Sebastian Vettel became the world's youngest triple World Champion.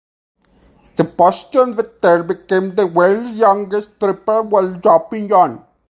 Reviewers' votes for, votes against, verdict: 0, 4, rejected